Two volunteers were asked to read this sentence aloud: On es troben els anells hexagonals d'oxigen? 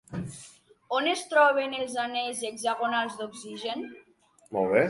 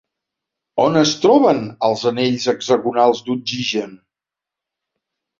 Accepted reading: second